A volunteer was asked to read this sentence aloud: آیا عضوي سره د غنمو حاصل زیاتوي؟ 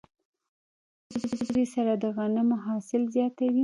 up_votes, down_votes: 1, 2